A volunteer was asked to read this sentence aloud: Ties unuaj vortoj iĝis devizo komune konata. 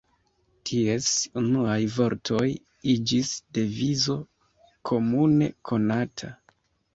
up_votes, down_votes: 2, 0